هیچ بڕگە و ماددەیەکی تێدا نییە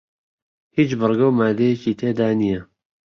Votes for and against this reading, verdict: 2, 0, accepted